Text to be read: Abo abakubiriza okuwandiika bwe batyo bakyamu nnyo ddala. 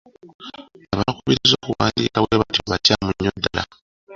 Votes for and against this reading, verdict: 0, 2, rejected